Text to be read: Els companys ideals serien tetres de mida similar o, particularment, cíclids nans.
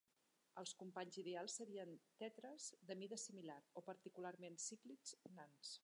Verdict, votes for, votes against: rejected, 1, 2